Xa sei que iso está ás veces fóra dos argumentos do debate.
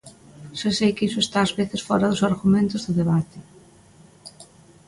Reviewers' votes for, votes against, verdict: 2, 0, accepted